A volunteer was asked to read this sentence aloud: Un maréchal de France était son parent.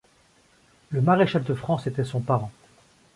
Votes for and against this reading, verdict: 1, 2, rejected